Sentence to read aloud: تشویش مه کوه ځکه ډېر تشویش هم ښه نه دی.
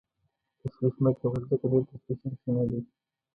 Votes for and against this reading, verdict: 1, 2, rejected